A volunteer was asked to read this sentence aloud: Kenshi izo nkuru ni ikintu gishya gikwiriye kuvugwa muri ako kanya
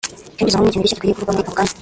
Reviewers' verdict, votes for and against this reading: rejected, 0, 2